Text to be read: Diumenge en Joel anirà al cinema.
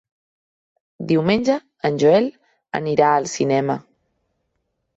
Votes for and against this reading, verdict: 2, 0, accepted